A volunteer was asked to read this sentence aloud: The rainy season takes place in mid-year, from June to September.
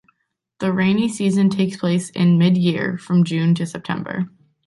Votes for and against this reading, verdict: 2, 0, accepted